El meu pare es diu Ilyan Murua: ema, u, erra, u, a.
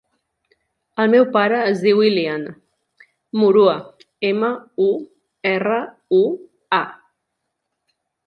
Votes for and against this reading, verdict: 4, 0, accepted